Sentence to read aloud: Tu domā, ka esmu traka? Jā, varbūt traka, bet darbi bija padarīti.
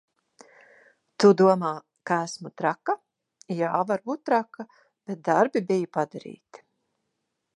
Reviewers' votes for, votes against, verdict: 2, 0, accepted